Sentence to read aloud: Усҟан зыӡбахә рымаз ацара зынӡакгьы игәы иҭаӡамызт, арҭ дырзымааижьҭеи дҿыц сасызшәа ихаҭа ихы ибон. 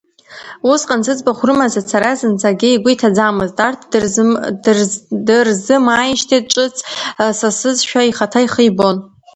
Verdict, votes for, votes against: rejected, 0, 2